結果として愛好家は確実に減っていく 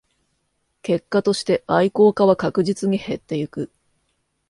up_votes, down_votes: 2, 0